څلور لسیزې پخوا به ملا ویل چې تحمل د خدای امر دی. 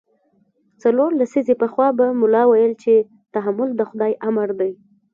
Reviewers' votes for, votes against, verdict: 2, 0, accepted